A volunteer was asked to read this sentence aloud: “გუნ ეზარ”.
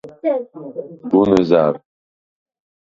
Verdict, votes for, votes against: rejected, 2, 4